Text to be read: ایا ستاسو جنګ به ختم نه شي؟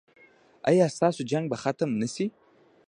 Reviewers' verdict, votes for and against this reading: rejected, 0, 2